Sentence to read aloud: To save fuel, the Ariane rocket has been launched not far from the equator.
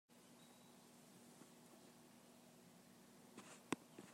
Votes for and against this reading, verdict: 0, 2, rejected